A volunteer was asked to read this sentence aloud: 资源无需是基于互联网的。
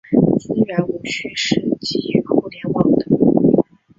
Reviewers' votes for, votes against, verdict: 0, 2, rejected